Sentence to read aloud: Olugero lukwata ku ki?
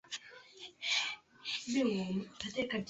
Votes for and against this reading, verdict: 0, 2, rejected